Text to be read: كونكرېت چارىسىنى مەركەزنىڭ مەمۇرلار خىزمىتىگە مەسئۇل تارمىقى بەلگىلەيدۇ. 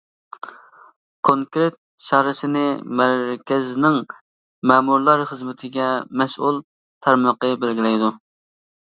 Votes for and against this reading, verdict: 2, 1, accepted